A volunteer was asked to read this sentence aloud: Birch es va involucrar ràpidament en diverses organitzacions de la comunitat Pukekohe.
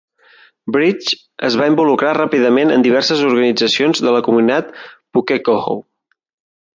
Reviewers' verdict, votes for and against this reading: rejected, 1, 2